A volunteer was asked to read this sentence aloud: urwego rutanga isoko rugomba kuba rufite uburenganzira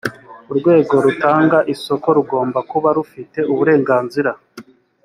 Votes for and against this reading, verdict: 3, 0, accepted